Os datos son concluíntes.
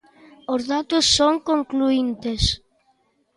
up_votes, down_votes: 2, 0